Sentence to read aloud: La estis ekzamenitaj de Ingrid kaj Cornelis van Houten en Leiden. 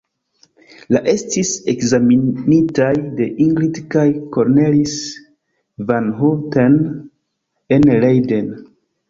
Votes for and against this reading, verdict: 1, 2, rejected